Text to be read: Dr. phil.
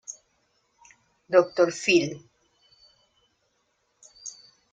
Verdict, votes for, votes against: rejected, 0, 2